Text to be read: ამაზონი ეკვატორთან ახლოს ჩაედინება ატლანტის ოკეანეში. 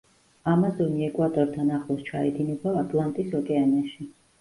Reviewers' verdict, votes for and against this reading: accepted, 2, 0